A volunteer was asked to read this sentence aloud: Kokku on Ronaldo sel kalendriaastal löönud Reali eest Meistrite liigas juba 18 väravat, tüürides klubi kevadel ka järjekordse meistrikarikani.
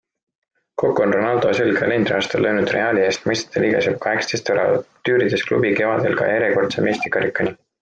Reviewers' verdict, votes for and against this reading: rejected, 0, 2